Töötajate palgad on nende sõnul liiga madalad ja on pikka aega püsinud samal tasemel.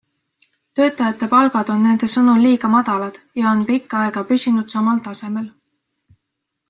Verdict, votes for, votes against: accepted, 2, 0